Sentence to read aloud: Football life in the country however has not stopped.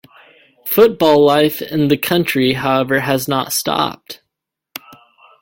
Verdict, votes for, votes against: accepted, 2, 0